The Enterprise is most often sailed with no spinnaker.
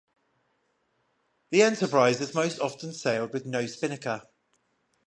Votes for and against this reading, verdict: 0, 5, rejected